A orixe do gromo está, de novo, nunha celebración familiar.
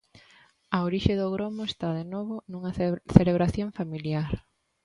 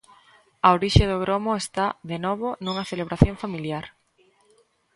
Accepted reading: second